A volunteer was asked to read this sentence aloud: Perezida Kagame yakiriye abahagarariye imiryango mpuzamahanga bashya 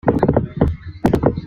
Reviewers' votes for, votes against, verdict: 0, 2, rejected